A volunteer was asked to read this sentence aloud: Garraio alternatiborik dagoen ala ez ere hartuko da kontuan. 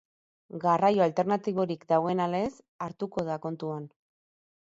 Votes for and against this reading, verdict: 2, 4, rejected